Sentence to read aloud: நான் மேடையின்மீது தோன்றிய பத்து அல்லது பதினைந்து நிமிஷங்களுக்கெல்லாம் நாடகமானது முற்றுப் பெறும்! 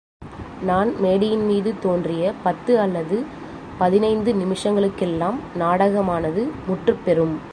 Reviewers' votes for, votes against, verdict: 2, 0, accepted